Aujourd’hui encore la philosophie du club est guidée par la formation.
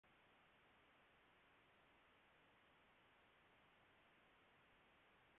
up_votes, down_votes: 0, 2